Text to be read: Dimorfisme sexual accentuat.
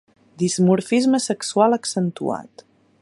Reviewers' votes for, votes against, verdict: 0, 2, rejected